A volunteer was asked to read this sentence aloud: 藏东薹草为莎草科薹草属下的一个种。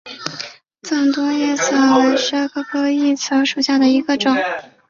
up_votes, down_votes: 2, 1